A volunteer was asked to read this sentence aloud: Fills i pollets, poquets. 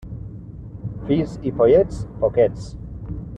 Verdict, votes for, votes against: rejected, 1, 2